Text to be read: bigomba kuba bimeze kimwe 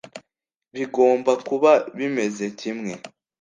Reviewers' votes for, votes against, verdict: 2, 0, accepted